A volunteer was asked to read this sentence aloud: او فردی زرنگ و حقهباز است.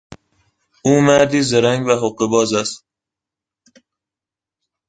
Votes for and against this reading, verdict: 0, 2, rejected